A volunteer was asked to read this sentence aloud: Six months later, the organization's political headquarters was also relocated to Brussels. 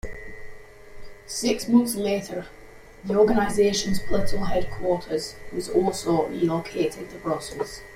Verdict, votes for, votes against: accepted, 3, 2